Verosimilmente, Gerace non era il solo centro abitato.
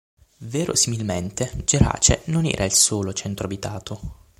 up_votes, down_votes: 6, 0